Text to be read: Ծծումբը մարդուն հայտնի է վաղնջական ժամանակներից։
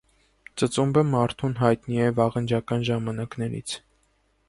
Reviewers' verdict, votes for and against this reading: accepted, 2, 0